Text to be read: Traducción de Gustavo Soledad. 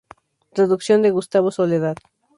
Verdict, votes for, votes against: accepted, 2, 0